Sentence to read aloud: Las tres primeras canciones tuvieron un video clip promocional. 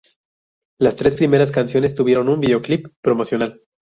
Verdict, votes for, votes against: rejected, 0, 2